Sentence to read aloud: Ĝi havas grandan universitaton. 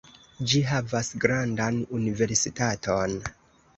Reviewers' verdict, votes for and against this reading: accepted, 3, 0